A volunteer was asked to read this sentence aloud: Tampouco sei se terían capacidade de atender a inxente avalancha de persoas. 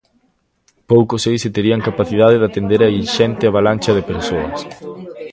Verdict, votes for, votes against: rejected, 0, 2